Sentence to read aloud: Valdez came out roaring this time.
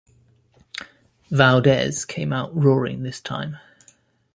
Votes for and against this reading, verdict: 2, 0, accepted